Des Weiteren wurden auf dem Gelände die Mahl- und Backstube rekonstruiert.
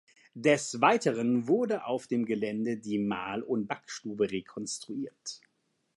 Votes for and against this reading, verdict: 2, 1, accepted